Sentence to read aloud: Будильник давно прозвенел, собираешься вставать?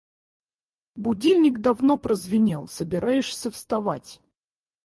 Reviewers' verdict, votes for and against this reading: rejected, 2, 4